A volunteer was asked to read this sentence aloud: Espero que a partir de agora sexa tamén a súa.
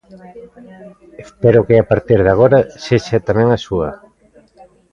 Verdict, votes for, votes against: accepted, 2, 1